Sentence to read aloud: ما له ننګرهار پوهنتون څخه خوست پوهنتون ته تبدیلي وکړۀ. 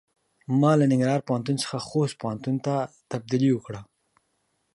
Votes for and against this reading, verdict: 2, 0, accepted